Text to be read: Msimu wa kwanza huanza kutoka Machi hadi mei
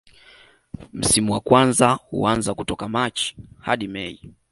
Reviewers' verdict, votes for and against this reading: rejected, 1, 2